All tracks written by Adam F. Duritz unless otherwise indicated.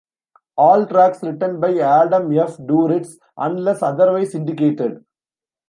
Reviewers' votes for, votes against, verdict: 0, 2, rejected